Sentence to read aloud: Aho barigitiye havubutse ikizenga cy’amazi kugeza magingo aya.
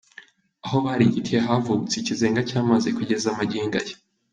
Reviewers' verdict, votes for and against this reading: accepted, 4, 0